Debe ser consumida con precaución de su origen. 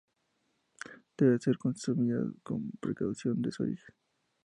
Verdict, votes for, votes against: accepted, 2, 0